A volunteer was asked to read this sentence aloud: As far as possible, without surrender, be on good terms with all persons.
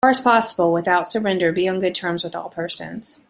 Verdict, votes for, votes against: rejected, 1, 2